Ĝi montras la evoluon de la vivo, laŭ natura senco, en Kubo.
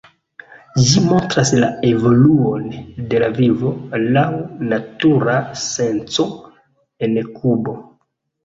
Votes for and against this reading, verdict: 2, 1, accepted